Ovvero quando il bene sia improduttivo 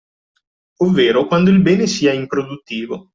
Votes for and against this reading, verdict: 2, 0, accepted